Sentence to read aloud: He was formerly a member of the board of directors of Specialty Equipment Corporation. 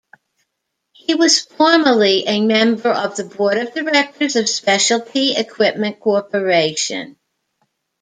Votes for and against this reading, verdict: 2, 0, accepted